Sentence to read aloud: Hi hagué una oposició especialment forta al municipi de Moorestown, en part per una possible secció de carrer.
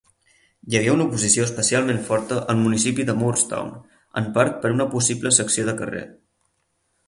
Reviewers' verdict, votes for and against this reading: accepted, 4, 0